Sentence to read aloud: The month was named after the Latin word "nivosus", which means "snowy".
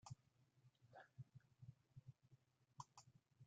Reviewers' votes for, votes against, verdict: 1, 2, rejected